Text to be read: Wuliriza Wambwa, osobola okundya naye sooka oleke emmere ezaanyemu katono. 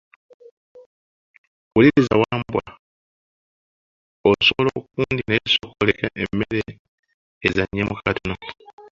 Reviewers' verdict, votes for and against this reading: rejected, 1, 2